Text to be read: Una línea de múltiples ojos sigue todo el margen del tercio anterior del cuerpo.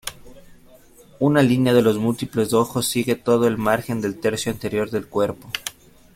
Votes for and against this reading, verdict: 1, 2, rejected